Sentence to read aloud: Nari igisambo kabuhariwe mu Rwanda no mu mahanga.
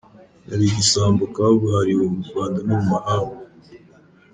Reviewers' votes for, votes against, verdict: 2, 0, accepted